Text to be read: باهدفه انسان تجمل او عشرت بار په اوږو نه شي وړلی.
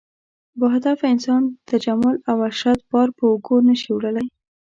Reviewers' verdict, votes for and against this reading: accepted, 2, 0